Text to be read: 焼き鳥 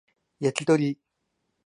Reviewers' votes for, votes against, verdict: 2, 0, accepted